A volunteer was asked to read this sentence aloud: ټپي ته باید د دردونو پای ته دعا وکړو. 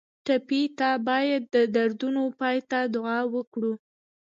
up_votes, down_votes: 2, 1